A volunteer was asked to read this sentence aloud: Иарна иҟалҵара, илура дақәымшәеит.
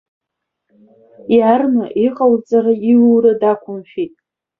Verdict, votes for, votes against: rejected, 1, 3